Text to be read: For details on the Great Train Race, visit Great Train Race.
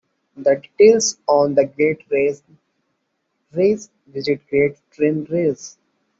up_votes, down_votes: 0, 2